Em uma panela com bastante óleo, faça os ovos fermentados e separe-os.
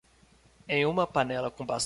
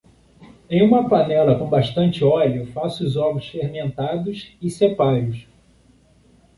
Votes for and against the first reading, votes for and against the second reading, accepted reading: 0, 2, 2, 0, second